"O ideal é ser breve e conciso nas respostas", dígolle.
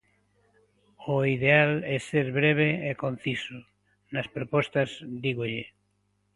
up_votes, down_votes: 1, 2